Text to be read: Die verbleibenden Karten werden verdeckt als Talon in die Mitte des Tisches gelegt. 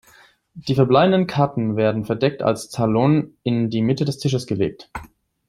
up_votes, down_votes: 2, 0